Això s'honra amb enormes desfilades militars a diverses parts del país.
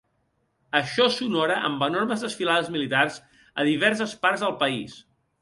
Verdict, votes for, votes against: rejected, 0, 2